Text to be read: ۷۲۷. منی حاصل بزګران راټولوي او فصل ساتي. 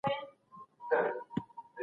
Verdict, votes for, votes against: rejected, 0, 2